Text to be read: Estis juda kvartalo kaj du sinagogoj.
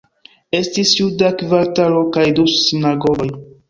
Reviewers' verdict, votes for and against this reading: accepted, 3, 1